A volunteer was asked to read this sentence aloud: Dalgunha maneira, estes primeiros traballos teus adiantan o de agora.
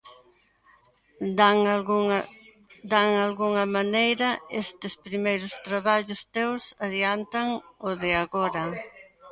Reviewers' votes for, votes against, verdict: 0, 3, rejected